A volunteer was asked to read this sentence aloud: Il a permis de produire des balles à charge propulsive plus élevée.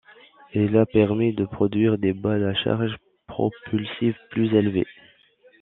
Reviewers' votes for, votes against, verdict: 2, 0, accepted